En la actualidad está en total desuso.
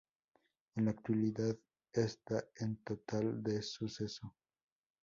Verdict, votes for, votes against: rejected, 0, 6